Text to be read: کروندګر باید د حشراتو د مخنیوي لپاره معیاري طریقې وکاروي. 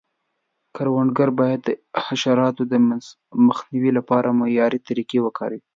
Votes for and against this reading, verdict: 1, 2, rejected